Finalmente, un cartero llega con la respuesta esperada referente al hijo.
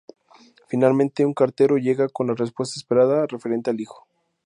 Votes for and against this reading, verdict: 2, 0, accepted